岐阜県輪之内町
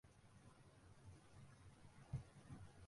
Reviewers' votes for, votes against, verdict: 1, 2, rejected